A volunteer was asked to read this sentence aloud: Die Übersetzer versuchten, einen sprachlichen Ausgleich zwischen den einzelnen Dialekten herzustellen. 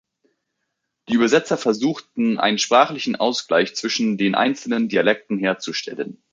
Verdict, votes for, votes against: accepted, 2, 0